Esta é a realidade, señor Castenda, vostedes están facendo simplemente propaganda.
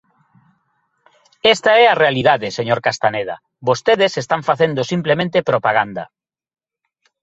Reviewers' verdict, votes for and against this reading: rejected, 0, 2